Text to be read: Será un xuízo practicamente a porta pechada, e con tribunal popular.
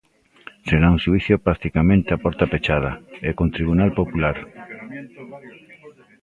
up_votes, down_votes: 0, 2